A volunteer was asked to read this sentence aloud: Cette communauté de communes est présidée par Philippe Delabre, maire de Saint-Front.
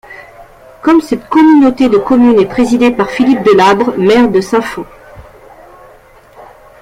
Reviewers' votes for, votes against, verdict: 0, 2, rejected